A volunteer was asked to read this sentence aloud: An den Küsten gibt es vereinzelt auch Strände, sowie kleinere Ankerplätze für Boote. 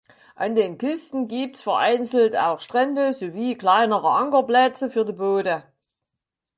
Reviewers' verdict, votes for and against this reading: rejected, 0, 4